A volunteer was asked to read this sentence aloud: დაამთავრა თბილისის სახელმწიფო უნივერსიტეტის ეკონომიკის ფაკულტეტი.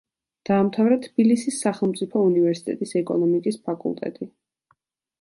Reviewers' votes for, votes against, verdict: 2, 0, accepted